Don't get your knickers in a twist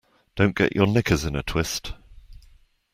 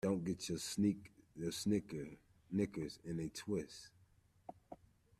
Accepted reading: first